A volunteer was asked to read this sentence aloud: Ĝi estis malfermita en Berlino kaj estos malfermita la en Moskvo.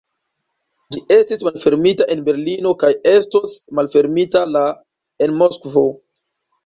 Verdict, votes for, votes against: rejected, 0, 2